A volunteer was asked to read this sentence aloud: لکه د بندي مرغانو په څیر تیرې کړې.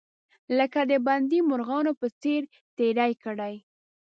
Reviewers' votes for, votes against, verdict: 0, 2, rejected